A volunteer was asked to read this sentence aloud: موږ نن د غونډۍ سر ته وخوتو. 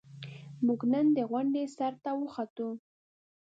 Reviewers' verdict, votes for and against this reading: rejected, 0, 2